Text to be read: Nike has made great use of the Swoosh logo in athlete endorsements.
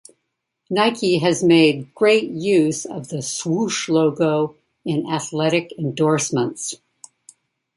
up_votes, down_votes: 0, 2